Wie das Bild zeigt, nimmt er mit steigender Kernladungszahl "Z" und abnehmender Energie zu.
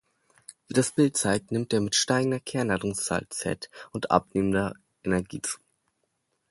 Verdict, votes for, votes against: accepted, 2, 0